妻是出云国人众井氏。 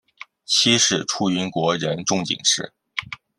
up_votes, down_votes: 2, 0